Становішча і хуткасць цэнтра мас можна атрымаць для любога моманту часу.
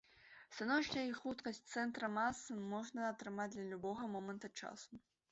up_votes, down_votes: 1, 2